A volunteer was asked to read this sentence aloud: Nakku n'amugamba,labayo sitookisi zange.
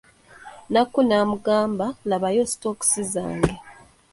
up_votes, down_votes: 0, 2